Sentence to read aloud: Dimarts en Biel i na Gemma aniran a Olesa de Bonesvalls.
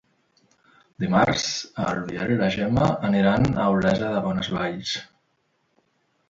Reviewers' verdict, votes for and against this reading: rejected, 0, 2